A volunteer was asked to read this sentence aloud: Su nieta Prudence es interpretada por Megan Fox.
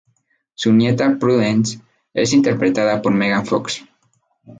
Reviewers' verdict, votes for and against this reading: accepted, 2, 0